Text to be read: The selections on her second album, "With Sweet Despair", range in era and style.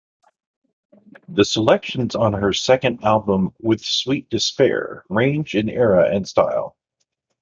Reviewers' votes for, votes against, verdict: 1, 2, rejected